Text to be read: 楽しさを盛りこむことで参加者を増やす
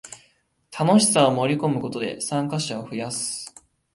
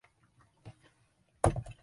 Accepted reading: first